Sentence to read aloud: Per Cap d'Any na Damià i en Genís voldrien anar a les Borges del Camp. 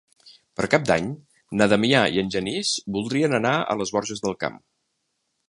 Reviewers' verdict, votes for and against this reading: accepted, 3, 0